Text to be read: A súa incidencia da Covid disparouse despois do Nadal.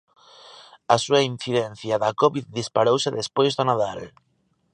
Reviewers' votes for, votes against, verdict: 3, 1, accepted